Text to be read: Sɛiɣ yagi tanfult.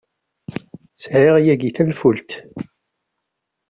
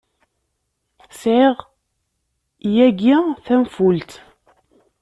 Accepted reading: first